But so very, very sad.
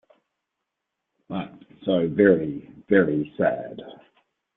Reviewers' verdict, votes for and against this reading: accepted, 2, 0